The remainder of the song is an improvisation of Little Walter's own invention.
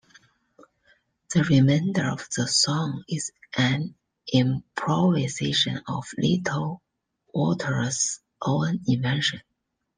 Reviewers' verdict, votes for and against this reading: accepted, 2, 1